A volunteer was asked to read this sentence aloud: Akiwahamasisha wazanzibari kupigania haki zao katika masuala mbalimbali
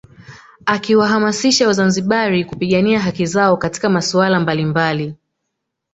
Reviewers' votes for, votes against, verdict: 5, 0, accepted